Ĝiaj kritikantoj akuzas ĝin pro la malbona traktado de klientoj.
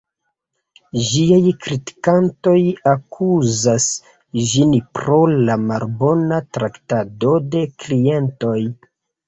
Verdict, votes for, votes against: accepted, 2, 0